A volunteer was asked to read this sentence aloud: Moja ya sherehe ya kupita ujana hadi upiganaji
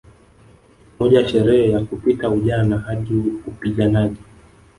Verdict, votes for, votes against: rejected, 1, 2